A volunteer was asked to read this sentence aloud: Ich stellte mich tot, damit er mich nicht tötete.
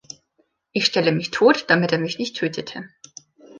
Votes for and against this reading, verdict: 1, 2, rejected